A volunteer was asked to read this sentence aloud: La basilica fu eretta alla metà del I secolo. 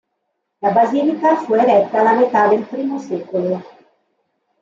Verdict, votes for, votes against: accepted, 2, 0